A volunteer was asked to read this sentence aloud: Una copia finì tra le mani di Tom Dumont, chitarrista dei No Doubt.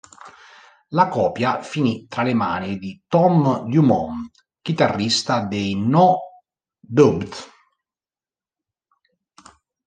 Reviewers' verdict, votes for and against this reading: rejected, 0, 2